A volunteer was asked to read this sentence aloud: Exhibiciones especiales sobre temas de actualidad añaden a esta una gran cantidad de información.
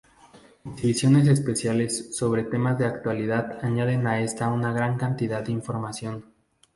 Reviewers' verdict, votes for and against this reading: accepted, 2, 0